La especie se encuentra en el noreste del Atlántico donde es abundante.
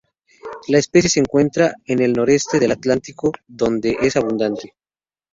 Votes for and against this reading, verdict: 2, 0, accepted